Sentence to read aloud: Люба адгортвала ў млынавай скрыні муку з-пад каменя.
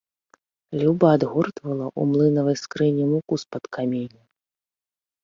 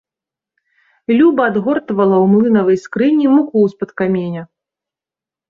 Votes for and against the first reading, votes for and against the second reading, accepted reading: 2, 0, 1, 2, first